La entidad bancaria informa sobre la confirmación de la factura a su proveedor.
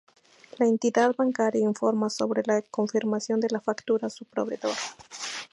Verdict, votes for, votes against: accepted, 2, 0